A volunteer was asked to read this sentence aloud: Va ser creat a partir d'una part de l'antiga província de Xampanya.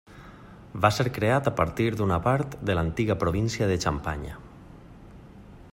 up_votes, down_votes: 1, 2